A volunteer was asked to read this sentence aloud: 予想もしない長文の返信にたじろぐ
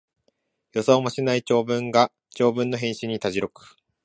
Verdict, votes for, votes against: rejected, 1, 2